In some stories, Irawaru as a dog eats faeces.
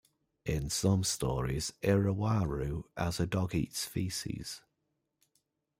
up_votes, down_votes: 1, 2